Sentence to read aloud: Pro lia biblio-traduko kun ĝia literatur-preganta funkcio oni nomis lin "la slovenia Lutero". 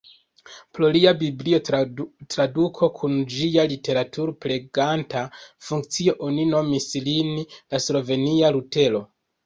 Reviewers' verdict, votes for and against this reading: rejected, 0, 2